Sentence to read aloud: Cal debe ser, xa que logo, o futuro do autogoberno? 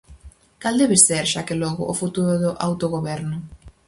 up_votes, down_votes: 4, 0